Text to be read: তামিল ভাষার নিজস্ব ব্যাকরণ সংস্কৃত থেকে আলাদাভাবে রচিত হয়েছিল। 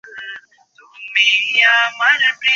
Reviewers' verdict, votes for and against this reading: rejected, 0, 2